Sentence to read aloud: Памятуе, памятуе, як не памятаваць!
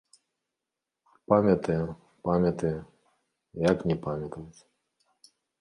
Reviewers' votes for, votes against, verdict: 0, 2, rejected